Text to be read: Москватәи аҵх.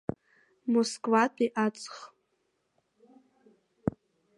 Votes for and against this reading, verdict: 2, 0, accepted